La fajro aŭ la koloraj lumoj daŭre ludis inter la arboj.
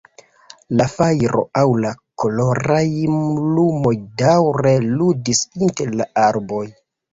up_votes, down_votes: 1, 2